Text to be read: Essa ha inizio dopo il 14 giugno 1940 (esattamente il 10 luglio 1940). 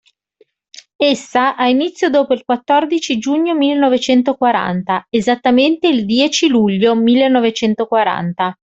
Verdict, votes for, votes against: rejected, 0, 2